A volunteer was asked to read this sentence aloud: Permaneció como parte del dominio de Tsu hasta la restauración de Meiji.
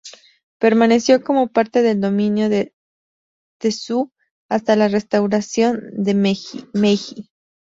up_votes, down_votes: 2, 2